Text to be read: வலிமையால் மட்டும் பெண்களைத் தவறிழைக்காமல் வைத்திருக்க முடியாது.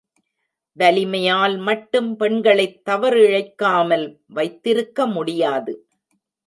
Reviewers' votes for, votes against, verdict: 0, 2, rejected